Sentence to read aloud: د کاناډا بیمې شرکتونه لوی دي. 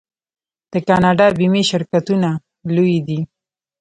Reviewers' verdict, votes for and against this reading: accepted, 2, 0